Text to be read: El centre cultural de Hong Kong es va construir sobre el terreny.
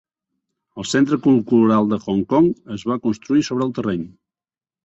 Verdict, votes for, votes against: rejected, 1, 2